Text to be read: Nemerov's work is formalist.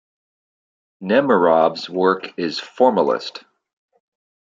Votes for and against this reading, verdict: 2, 0, accepted